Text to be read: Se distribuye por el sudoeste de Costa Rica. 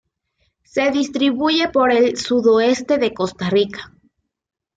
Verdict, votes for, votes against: accepted, 2, 0